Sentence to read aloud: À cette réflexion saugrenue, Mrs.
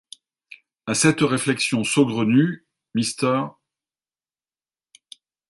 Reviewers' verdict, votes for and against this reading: rejected, 1, 2